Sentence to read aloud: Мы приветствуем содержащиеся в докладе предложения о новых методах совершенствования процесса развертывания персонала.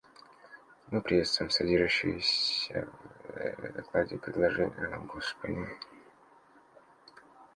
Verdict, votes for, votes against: rejected, 0, 2